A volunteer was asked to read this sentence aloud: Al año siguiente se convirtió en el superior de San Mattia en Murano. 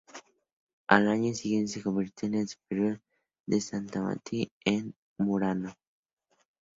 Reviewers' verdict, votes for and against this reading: accepted, 2, 0